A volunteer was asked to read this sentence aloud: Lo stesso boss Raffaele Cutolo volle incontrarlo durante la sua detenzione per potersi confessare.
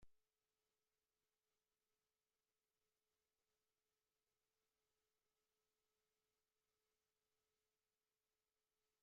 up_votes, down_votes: 0, 2